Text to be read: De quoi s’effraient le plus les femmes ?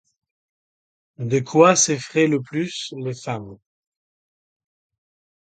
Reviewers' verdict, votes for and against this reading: accepted, 2, 0